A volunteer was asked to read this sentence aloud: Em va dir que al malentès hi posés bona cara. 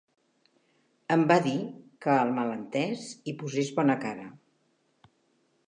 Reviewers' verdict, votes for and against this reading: accepted, 2, 0